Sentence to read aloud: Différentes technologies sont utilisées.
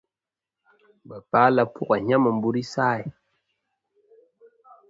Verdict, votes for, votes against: rejected, 0, 2